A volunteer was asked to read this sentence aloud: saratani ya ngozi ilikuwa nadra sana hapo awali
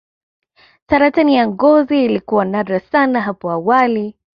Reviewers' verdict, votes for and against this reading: accepted, 2, 0